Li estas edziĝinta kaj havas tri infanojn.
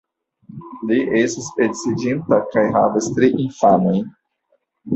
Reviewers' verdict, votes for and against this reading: rejected, 0, 2